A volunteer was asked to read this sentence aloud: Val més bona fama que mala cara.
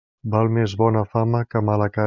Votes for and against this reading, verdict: 0, 2, rejected